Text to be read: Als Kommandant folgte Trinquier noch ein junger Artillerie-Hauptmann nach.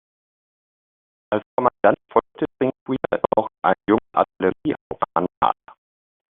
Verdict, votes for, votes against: rejected, 0, 2